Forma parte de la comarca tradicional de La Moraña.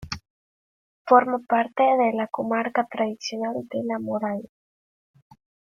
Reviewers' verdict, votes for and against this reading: rejected, 1, 2